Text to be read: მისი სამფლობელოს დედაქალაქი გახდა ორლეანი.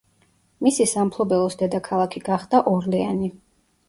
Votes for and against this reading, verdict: 2, 0, accepted